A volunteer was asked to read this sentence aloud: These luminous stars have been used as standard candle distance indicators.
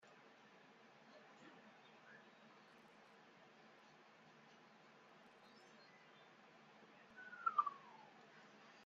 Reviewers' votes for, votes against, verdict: 0, 2, rejected